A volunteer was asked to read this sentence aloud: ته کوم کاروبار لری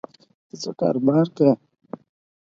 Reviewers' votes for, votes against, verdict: 4, 6, rejected